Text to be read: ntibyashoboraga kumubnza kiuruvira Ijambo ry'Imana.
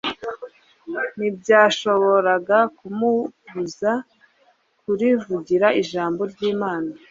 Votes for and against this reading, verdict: 1, 2, rejected